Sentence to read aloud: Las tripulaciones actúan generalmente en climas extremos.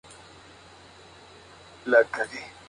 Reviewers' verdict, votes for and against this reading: rejected, 0, 2